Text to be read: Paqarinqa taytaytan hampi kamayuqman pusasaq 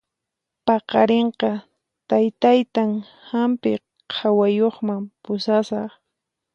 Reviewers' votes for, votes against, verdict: 2, 4, rejected